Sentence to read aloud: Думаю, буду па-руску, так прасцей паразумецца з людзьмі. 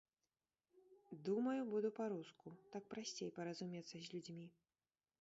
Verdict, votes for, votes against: rejected, 0, 2